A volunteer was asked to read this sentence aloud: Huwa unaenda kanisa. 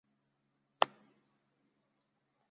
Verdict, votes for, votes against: rejected, 0, 2